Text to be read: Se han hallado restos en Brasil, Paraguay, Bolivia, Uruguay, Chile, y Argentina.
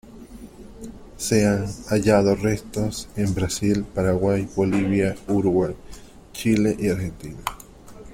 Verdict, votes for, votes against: accepted, 2, 0